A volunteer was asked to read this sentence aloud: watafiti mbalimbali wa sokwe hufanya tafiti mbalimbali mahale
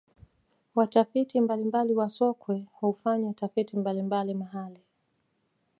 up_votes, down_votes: 2, 1